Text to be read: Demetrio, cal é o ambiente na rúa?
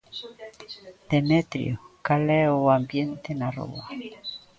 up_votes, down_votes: 1, 2